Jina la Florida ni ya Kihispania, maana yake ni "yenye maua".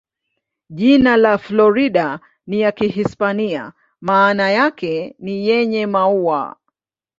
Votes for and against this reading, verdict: 2, 0, accepted